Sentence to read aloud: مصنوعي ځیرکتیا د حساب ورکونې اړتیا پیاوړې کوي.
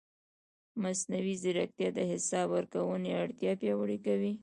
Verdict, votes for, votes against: rejected, 0, 2